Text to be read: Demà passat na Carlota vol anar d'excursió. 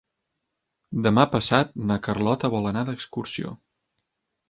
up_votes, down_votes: 4, 0